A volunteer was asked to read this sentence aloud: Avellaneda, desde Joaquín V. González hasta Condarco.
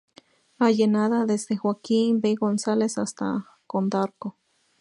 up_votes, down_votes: 0, 4